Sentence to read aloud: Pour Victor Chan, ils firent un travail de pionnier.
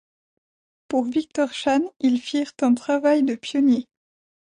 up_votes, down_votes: 2, 0